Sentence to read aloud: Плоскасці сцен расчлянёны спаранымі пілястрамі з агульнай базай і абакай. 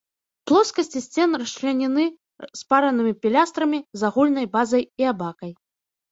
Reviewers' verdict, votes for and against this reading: rejected, 1, 2